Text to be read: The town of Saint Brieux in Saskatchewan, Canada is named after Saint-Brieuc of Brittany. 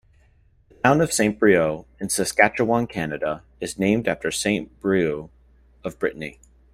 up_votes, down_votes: 1, 2